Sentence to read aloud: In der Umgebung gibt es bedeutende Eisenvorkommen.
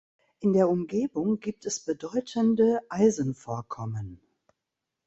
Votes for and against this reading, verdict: 2, 0, accepted